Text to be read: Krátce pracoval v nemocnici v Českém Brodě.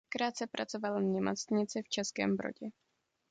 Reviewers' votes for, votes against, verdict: 2, 1, accepted